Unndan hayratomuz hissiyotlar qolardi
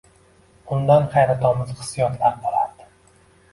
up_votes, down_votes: 1, 2